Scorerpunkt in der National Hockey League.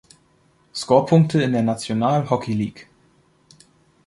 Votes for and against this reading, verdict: 0, 2, rejected